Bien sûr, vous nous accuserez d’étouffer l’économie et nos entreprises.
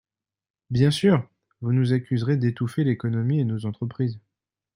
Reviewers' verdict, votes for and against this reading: accepted, 2, 0